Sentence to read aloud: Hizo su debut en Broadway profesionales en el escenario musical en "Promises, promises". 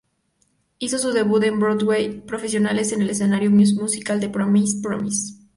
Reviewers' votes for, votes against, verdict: 0, 2, rejected